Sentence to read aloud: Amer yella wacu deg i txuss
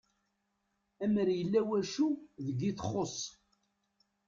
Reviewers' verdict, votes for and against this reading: rejected, 1, 2